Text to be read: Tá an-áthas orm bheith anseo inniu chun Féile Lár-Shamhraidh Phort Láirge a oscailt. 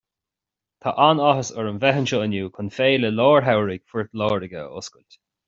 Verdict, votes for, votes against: accepted, 2, 0